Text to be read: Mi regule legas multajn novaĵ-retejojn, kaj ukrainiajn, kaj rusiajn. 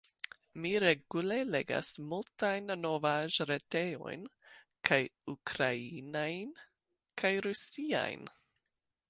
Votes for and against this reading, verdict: 1, 2, rejected